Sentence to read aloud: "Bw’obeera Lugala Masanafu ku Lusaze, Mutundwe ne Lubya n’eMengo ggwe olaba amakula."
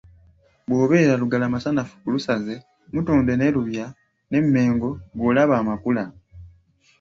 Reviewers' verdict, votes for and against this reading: accepted, 2, 0